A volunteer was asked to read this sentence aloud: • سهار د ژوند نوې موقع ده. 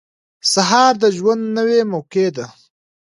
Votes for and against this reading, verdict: 2, 0, accepted